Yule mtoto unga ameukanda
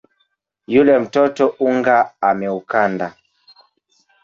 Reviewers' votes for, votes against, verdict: 0, 2, rejected